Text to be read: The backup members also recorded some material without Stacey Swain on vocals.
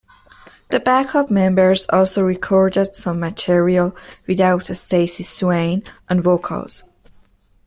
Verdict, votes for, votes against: accepted, 2, 0